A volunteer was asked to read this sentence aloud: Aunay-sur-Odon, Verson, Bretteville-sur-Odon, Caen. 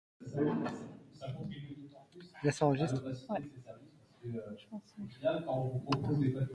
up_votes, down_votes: 0, 2